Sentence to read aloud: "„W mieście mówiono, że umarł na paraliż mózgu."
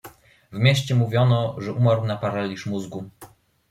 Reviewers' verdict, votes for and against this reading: accepted, 2, 0